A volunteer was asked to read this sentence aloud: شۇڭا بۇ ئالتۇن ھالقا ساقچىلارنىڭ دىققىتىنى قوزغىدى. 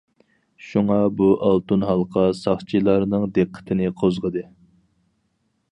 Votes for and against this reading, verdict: 4, 0, accepted